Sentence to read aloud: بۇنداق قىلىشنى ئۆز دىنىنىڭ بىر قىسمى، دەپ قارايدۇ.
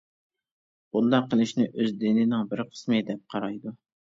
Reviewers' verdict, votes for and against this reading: accepted, 2, 0